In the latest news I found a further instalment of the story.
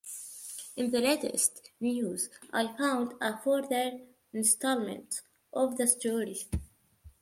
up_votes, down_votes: 2, 0